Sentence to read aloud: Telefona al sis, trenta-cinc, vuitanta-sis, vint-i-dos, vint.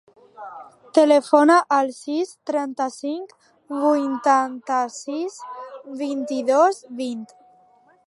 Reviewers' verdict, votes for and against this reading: accepted, 2, 0